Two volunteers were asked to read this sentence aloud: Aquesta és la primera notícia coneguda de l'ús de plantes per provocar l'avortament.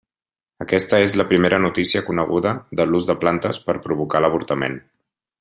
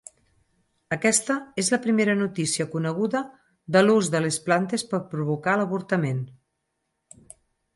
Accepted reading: first